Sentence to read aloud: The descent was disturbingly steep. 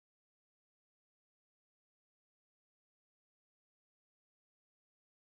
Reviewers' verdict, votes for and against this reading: rejected, 0, 2